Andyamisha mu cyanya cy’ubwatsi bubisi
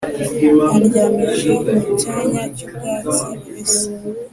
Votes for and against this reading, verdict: 2, 0, accepted